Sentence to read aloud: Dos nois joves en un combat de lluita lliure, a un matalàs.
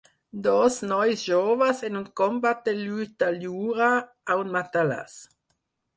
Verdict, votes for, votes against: rejected, 0, 4